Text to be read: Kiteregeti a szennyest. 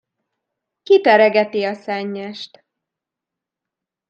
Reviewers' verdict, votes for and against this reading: accepted, 2, 0